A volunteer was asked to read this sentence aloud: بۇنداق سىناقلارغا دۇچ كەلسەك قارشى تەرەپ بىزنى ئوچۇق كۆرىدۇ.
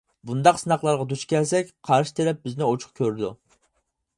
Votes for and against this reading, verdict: 4, 0, accepted